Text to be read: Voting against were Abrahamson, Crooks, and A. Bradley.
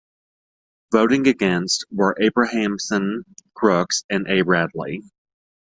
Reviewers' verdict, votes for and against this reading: accepted, 2, 0